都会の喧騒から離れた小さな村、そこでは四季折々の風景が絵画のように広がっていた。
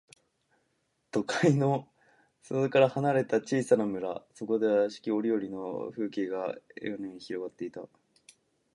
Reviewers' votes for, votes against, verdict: 0, 2, rejected